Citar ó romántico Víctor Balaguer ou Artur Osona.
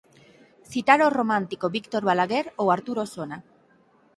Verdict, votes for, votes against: accepted, 6, 0